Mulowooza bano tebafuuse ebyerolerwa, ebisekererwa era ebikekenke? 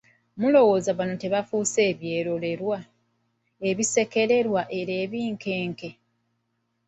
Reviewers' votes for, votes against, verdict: 1, 2, rejected